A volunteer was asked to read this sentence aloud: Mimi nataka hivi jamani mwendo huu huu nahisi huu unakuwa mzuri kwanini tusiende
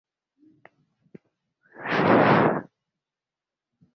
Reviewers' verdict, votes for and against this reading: rejected, 0, 2